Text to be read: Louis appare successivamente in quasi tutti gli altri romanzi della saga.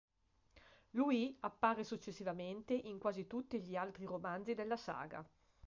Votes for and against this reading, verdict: 2, 0, accepted